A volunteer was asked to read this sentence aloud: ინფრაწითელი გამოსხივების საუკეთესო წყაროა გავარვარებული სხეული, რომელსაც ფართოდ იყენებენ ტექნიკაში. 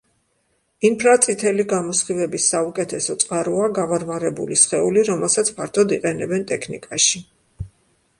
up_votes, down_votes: 2, 0